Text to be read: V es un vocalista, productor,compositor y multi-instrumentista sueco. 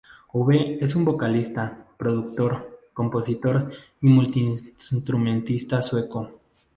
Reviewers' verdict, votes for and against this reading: rejected, 0, 2